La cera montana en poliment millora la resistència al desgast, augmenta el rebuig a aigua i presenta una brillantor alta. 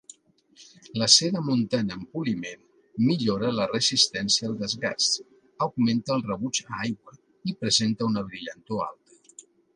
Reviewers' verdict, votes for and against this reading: accepted, 2, 1